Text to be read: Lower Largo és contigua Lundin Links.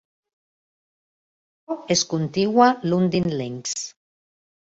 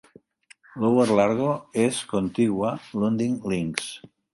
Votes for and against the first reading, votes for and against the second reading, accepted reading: 1, 2, 2, 1, second